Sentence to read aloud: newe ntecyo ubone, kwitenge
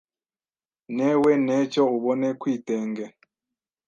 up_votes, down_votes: 1, 2